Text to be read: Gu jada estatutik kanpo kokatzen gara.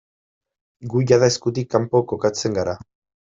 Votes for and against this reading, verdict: 1, 2, rejected